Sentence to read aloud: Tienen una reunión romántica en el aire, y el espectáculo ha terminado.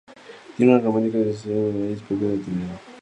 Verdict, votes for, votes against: rejected, 0, 2